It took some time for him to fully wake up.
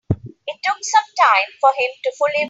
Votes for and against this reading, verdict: 0, 2, rejected